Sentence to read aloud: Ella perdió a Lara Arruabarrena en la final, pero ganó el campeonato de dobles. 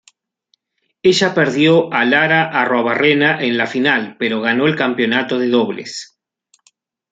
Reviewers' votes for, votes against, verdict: 3, 1, accepted